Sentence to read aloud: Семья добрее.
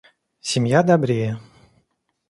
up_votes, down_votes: 2, 0